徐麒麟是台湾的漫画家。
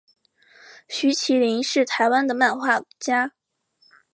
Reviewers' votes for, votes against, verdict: 3, 0, accepted